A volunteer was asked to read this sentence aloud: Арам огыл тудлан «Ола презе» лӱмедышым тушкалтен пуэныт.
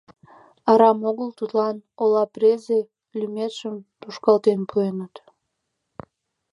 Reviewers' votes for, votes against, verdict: 0, 2, rejected